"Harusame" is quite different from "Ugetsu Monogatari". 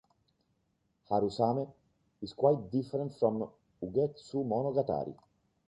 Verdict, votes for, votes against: accepted, 2, 0